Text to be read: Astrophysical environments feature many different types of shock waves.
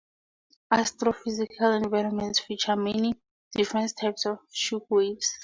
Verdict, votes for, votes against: rejected, 0, 4